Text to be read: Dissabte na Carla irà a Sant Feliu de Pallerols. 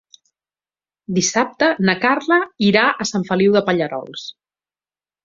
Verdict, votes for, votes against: accepted, 2, 0